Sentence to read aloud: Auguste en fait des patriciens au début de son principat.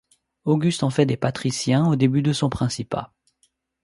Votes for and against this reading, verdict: 2, 0, accepted